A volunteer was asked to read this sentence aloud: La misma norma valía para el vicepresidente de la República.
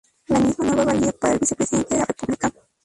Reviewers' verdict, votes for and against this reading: rejected, 0, 4